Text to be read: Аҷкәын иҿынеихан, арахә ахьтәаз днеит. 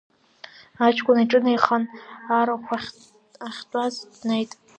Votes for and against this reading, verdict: 1, 2, rejected